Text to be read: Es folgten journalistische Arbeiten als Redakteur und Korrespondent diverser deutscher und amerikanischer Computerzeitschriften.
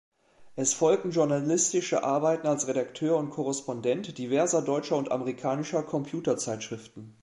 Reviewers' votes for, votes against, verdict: 3, 0, accepted